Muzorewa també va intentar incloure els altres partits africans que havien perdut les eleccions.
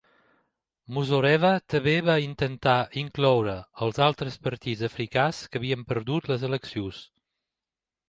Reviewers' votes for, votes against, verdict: 0, 2, rejected